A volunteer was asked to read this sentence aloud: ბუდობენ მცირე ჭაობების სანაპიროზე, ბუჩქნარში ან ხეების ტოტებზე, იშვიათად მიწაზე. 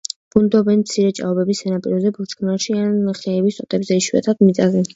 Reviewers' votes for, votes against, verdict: 0, 2, rejected